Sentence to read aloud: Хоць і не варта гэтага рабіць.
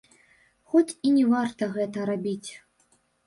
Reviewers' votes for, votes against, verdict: 1, 2, rejected